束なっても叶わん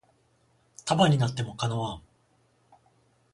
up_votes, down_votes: 7, 14